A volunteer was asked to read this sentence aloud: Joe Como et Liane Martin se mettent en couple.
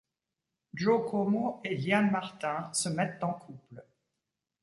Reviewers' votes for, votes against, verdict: 1, 2, rejected